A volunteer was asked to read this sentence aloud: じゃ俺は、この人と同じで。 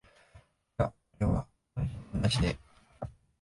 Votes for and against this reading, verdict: 0, 2, rejected